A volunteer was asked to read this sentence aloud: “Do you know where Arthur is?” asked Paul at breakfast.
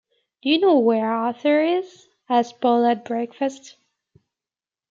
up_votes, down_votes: 2, 0